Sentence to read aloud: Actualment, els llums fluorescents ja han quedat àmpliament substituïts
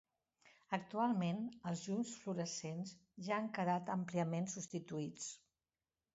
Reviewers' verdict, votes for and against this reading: accepted, 2, 0